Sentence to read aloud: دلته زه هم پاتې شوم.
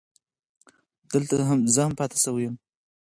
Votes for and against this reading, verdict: 2, 4, rejected